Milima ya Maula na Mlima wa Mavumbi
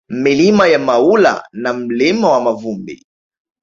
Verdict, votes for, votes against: rejected, 1, 2